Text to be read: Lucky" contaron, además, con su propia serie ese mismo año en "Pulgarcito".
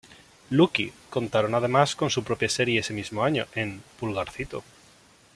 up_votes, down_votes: 1, 2